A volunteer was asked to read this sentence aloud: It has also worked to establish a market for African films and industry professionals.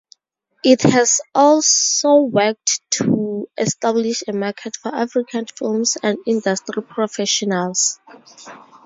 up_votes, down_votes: 2, 2